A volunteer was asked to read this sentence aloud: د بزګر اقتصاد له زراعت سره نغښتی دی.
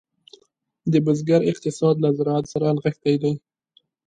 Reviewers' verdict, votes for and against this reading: accepted, 2, 0